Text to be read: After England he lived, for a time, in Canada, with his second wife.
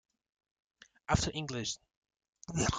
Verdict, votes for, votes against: rejected, 0, 2